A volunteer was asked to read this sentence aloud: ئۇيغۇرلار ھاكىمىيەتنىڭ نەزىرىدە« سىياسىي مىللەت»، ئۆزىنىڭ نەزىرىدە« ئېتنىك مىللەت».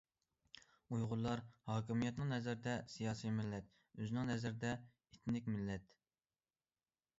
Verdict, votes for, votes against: accepted, 2, 0